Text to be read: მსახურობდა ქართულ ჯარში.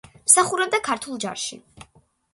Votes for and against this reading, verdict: 2, 0, accepted